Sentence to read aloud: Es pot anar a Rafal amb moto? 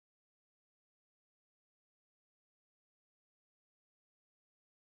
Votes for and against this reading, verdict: 0, 2, rejected